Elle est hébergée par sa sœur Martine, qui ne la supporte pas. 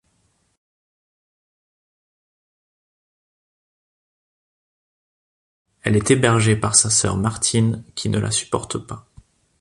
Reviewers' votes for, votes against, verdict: 2, 3, rejected